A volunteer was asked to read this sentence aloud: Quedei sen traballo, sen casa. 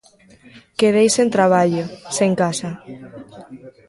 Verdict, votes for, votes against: rejected, 0, 2